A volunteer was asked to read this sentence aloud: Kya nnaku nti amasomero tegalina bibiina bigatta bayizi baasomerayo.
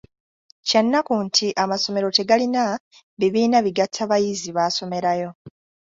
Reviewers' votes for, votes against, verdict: 2, 0, accepted